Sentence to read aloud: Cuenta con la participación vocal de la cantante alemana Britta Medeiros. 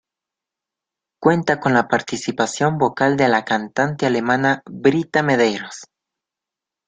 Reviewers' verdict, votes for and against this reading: accepted, 2, 0